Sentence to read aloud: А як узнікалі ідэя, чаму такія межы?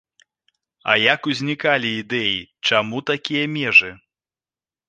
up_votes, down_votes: 2, 0